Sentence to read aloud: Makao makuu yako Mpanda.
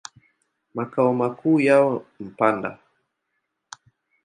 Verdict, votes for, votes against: rejected, 0, 2